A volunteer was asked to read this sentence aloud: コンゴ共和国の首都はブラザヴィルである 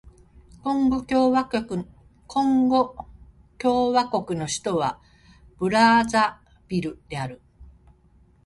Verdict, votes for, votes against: rejected, 0, 2